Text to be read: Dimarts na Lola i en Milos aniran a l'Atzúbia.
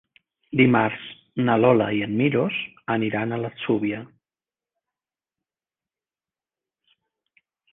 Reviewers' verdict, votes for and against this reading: accepted, 5, 0